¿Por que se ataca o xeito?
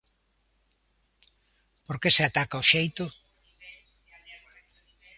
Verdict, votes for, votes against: rejected, 1, 2